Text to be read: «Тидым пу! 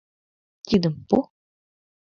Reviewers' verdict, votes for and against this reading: accepted, 2, 0